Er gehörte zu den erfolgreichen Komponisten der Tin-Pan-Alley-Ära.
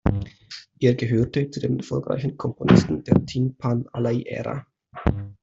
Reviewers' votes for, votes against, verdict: 1, 2, rejected